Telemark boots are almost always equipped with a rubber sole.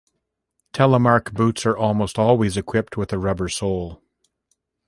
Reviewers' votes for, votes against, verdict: 3, 1, accepted